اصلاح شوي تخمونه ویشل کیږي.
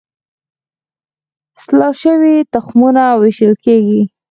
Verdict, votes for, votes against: rejected, 2, 4